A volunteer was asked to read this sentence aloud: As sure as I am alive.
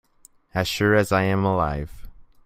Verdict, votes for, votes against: accepted, 2, 0